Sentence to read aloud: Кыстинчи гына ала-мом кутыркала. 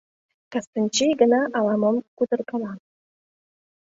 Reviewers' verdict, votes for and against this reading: accepted, 2, 0